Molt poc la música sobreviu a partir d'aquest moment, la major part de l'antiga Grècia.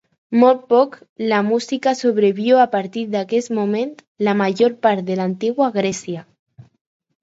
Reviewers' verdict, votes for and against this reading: accepted, 4, 2